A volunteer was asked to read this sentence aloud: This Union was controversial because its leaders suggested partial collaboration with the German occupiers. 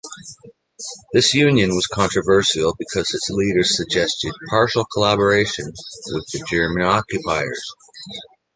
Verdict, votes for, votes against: accepted, 2, 0